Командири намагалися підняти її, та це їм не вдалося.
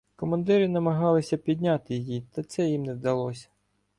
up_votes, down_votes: 2, 0